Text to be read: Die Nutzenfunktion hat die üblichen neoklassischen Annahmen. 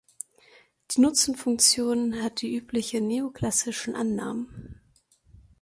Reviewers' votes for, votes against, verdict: 0, 2, rejected